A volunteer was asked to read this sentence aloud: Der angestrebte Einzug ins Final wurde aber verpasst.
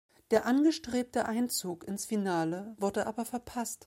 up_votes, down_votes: 1, 2